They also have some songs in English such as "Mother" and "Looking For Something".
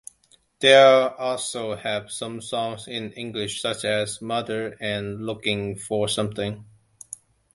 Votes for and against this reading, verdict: 2, 0, accepted